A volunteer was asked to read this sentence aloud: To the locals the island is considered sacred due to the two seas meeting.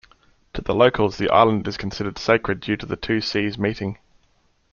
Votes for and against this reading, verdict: 2, 0, accepted